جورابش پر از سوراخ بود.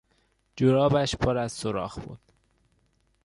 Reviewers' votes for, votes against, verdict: 1, 2, rejected